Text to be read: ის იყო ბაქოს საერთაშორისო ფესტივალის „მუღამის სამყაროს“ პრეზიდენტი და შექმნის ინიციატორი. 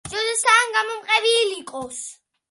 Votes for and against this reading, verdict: 0, 2, rejected